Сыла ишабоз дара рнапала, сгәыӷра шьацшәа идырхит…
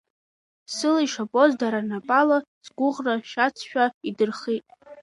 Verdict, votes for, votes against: accepted, 3, 0